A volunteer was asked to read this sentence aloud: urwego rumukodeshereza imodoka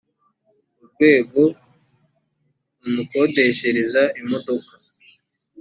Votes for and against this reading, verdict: 2, 0, accepted